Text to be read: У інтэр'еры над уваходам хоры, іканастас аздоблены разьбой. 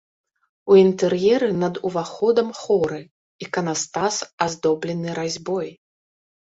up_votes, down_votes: 2, 0